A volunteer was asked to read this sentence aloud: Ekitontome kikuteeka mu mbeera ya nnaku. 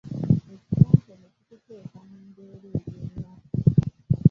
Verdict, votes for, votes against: rejected, 1, 2